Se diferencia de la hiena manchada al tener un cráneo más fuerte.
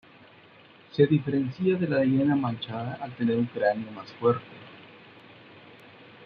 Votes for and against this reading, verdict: 1, 2, rejected